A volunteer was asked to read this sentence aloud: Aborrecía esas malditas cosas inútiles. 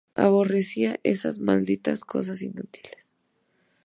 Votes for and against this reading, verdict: 2, 0, accepted